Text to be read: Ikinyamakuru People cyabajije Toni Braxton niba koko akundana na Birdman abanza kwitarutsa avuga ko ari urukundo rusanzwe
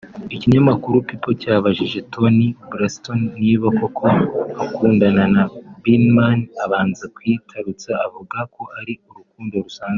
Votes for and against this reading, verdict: 1, 2, rejected